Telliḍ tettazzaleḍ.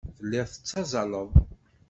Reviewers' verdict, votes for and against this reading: accepted, 2, 0